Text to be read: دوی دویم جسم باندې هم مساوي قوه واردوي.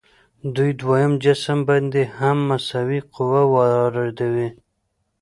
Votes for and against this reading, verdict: 2, 0, accepted